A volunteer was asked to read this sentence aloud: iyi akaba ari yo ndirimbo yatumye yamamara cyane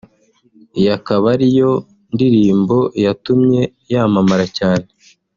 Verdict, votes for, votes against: accepted, 2, 0